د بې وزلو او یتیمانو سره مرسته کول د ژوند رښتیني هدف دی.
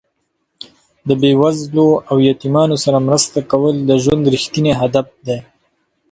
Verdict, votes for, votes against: accepted, 2, 0